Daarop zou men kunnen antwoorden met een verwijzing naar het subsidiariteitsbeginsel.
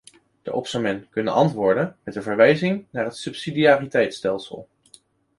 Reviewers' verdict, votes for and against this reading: rejected, 0, 2